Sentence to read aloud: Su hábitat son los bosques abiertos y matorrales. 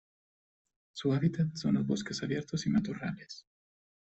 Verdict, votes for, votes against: rejected, 0, 2